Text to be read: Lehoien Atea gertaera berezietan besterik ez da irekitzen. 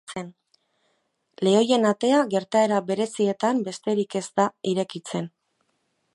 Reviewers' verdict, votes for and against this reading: accepted, 2, 1